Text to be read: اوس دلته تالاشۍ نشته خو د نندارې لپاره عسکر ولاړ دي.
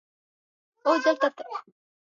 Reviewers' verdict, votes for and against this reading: rejected, 0, 2